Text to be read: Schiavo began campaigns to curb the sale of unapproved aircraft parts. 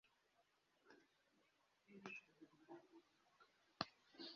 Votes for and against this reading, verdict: 0, 2, rejected